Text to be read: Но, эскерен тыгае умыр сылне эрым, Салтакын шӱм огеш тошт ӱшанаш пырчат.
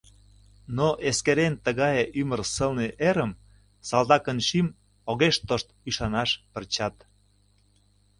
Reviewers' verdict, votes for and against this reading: rejected, 0, 2